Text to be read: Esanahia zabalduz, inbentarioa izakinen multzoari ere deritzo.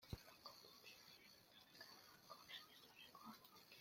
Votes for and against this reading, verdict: 0, 2, rejected